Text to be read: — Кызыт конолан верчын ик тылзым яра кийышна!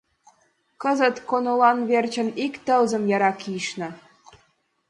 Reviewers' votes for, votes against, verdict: 2, 0, accepted